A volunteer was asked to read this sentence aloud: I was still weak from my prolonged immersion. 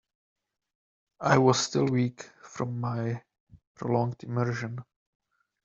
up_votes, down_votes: 2, 1